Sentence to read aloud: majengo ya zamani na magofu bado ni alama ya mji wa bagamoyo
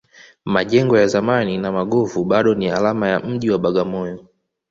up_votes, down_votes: 2, 0